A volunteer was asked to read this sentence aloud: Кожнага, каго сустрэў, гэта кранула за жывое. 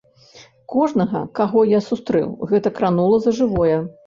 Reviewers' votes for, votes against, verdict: 0, 2, rejected